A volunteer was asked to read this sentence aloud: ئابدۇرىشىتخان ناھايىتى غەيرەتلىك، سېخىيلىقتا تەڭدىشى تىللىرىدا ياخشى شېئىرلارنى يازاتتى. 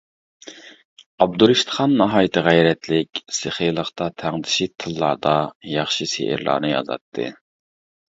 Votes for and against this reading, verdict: 0, 2, rejected